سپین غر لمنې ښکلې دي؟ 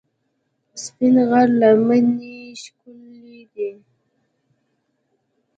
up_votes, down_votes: 2, 0